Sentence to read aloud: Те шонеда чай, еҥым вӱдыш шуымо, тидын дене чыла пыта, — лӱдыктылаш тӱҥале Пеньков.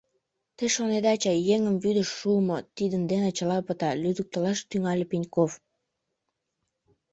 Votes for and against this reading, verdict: 2, 1, accepted